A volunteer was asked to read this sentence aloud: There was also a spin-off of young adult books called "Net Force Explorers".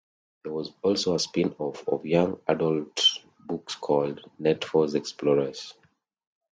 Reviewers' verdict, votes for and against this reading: rejected, 1, 2